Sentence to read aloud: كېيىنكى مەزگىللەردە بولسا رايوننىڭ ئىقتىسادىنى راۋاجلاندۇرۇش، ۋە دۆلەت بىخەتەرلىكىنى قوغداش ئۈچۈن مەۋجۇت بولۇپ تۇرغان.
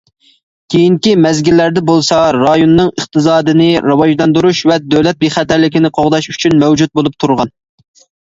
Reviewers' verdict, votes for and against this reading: accepted, 2, 0